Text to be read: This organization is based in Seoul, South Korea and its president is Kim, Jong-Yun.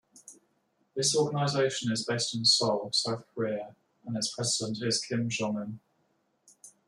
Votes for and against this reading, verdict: 2, 0, accepted